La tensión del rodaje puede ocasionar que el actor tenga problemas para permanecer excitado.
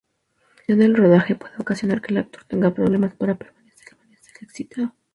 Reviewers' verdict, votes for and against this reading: rejected, 0, 2